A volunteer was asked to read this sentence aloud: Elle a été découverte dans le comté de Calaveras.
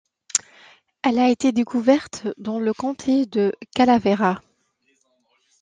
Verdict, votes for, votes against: accepted, 2, 0